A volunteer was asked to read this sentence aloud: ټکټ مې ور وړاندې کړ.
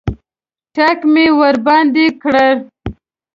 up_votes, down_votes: 1, 2